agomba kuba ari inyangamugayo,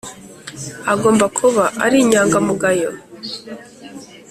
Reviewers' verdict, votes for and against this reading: accepted, 3, 0